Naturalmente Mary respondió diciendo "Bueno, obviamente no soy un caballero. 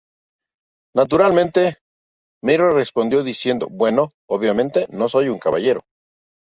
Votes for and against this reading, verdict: 2, 0, accepted